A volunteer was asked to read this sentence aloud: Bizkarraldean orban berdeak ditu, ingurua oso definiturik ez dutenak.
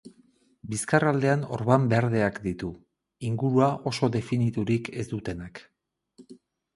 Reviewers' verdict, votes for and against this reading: rejected, 2, 2